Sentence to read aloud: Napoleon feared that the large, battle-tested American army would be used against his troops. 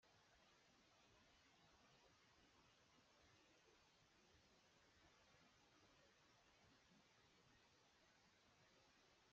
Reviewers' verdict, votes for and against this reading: rejected, 0, 2